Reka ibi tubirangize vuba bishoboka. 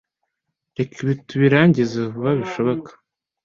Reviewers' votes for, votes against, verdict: 2, 0, accepted